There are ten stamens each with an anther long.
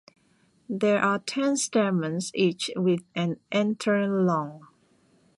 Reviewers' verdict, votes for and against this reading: accepted, 2, 1